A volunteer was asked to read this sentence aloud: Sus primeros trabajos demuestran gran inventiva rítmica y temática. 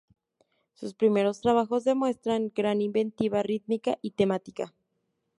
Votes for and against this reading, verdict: 2, 0, accepted